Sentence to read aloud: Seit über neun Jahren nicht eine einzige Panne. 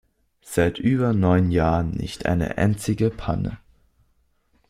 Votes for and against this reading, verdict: 2, 0, accepted